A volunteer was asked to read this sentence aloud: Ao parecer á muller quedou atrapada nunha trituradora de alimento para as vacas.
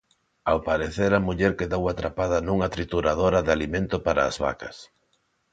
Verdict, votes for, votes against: accepted, 2, 0